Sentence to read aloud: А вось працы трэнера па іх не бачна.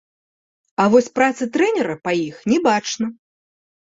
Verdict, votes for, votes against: accepted, 2, 0